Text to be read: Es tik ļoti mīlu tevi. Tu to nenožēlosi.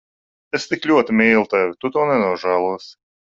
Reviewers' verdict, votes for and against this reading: accepted, 2, 0